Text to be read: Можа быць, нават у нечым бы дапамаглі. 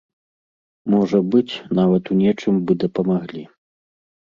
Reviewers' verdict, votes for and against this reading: accepted, 2, 0